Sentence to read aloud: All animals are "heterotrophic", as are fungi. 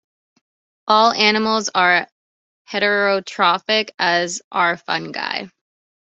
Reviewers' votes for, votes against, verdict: 2, 1, accepted